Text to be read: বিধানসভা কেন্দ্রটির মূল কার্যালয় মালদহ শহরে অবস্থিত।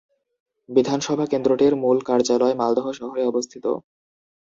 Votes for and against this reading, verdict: 2, 0, accepted